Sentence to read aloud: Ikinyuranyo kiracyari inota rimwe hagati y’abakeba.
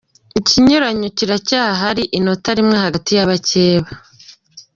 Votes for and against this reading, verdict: 1, 2, rejected